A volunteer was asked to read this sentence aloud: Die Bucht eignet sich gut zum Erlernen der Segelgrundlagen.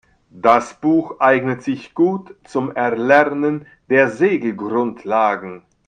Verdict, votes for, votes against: rejected, 0, 2